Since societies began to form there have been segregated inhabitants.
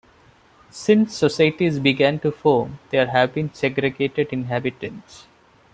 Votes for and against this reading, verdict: 0, 2, rejected